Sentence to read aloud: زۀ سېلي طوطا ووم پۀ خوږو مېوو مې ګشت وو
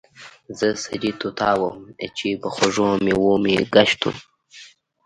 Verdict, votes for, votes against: rejected, 1, 2